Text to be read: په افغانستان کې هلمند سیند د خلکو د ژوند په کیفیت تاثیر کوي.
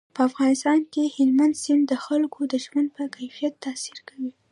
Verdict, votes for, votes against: accepted, 2, 1